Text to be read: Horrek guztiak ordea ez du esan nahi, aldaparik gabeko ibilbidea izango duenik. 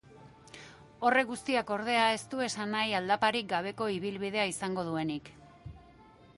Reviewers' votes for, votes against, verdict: 0, 2, rejected